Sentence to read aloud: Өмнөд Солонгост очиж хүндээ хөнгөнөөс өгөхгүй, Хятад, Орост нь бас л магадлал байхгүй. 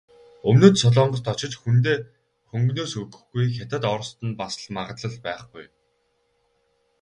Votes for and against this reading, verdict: 2, 4, rejected